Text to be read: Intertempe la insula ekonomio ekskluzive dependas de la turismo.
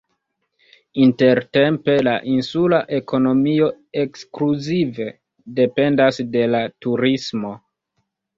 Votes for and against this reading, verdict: 2, 0, accepted